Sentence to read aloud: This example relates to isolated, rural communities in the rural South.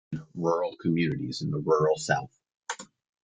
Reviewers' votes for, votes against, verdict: 0, 2, rejected